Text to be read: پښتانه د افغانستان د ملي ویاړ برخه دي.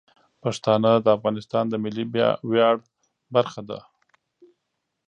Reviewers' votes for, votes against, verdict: 2, 1, accepted